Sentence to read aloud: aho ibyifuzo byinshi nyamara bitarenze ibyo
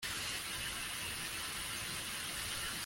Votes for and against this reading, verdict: 0, 2, rejected